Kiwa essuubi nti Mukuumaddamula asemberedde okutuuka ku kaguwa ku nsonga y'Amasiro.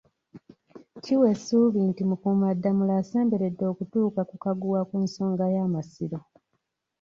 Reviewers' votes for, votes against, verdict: 1, 2, rejected